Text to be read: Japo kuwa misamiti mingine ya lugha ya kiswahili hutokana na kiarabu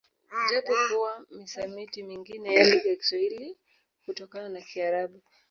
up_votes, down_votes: 1, 2